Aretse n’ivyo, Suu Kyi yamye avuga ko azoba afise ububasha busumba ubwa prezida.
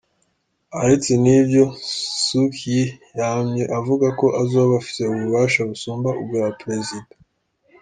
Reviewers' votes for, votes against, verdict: 2, 0, accepted